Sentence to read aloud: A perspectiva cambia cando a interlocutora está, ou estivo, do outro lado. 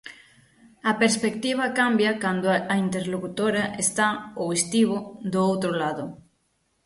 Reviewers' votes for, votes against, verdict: 6, 0, accepted